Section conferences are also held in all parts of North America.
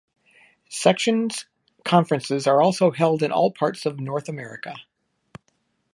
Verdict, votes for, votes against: accepted, 2, 1